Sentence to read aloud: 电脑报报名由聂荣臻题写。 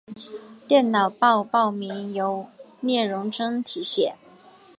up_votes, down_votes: 2, 0